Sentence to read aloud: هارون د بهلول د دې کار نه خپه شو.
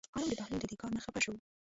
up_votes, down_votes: 0, 2